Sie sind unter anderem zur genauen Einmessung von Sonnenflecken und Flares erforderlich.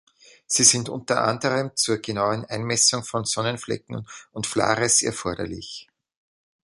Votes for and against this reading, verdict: 1, 2, rejected